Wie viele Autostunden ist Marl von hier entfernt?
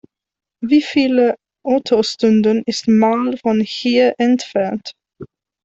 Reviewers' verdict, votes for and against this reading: rejected, 1, 2